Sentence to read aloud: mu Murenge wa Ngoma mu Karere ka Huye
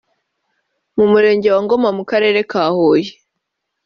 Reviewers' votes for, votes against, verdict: 2, 0, accepted